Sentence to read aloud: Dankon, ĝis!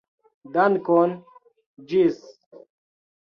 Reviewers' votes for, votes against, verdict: 2, 0, accepted